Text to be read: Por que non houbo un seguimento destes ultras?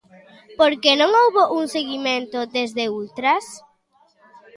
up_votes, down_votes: 0, 2